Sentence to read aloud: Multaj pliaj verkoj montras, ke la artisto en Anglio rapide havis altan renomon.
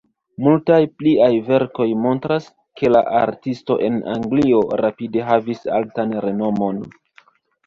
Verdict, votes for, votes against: rejected, 0, 2